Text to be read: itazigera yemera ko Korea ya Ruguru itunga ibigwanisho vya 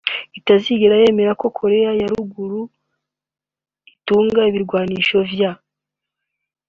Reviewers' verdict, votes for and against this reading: accepted, 2, 0